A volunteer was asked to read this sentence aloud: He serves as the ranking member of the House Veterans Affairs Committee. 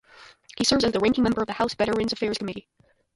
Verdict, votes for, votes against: rejected, 0, 2